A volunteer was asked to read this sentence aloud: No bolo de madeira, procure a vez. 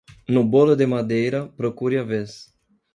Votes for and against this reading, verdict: 2, 0, accepted